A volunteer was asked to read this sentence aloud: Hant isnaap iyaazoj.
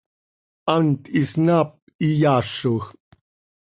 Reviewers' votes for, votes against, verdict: 2, 0, accepted